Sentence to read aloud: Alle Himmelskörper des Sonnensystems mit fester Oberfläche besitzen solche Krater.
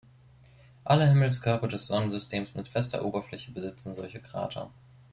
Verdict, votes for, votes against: accepted, 2, 0